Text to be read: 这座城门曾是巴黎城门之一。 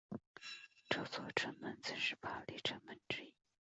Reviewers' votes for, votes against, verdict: 4, 1, accepted